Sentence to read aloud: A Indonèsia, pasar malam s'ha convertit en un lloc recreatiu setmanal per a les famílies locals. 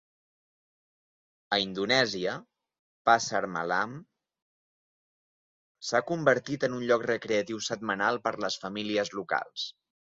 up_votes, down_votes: 0, 2